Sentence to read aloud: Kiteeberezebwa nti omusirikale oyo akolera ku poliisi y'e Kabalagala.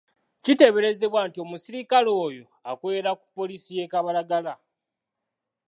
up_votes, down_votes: 3, 0